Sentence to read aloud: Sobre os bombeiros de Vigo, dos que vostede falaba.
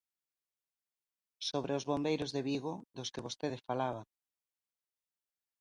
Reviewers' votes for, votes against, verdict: 2, 0, accepted